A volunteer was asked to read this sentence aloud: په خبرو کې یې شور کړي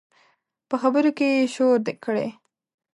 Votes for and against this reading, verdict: 1, 2, rejected